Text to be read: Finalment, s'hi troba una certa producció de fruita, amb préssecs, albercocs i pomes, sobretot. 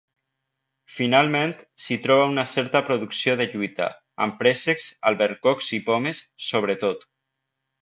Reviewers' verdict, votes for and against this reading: rejected, 1, 2